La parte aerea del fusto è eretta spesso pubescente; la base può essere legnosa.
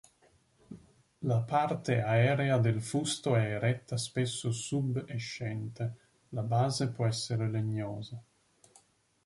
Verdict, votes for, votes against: rejected, 1, 2